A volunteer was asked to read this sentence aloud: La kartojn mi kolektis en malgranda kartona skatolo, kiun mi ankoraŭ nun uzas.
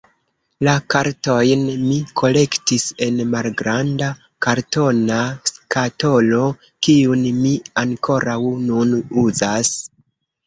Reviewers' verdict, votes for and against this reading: rejected, 1, 2